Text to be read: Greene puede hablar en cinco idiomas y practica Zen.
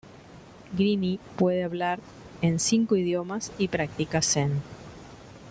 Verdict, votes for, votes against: rejected, 1, 2